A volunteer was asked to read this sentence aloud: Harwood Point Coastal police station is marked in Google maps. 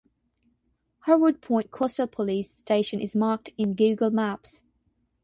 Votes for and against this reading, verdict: 3, 3, rejected